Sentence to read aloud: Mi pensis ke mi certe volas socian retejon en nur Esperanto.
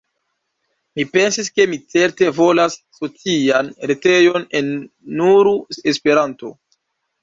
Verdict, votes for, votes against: rejected, 0, 2